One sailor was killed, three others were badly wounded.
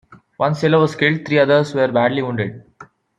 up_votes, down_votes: 2, 0